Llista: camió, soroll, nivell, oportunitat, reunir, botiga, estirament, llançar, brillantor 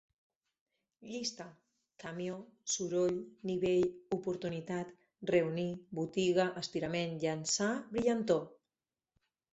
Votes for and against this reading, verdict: 4, 2, accepted